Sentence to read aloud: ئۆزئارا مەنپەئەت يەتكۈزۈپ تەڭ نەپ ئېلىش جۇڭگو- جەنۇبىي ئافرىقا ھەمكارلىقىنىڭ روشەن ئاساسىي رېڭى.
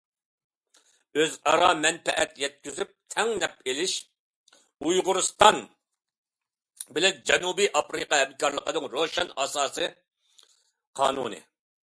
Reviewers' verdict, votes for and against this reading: rejected, 0, 2